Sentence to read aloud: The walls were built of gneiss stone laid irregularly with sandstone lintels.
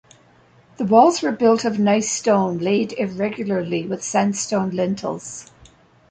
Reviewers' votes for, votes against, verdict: 1, 2, rejected